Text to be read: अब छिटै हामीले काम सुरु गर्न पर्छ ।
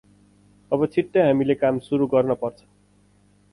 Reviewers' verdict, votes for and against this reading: accepted, 4, 0